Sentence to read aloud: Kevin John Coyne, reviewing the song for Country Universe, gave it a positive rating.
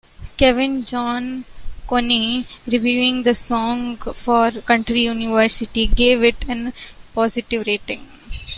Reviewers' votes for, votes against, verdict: 0, 2, rejected